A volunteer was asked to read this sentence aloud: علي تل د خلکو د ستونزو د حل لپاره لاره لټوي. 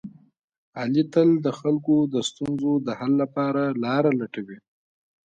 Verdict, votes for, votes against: rejected, 1, 2